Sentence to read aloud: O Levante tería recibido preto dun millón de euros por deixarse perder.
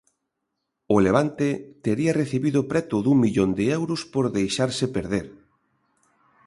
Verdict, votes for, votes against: accepted, 2, 0